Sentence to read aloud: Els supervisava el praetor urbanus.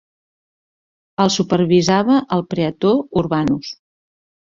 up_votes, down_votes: 2, 1